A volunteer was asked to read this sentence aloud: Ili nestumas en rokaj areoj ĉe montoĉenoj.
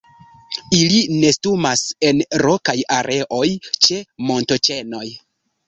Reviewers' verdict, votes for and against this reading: rejected, 1, 2